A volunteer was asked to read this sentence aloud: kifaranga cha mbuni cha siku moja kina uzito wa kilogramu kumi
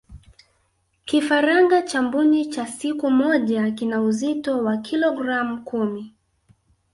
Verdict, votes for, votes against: accepted, 2, 1